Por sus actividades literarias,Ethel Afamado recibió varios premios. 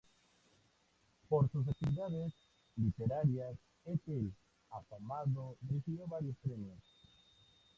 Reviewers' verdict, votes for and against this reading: rejected, 0, 2